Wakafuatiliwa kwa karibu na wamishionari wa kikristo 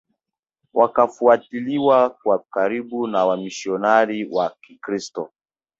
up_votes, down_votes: 0, 2